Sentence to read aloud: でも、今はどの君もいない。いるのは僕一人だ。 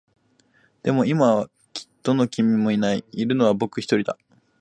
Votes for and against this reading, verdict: 1, 2, rejected